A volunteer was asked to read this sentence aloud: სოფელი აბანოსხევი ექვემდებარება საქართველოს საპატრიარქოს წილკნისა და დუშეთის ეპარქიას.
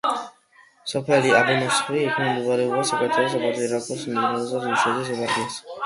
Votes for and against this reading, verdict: 2, 1, accepted